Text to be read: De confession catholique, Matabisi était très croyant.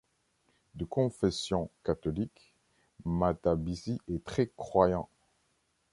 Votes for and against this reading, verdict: 0, 2, rejected